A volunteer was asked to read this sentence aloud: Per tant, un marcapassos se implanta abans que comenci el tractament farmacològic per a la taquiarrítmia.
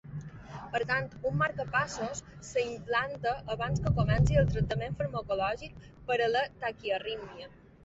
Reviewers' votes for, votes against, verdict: 0, 2, rejected